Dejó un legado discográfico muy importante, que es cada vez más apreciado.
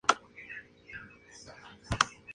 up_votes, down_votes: 0, 4